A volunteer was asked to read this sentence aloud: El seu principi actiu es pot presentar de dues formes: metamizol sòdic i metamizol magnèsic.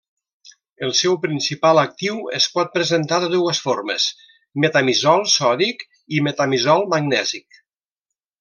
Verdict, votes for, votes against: rejected, 1, 2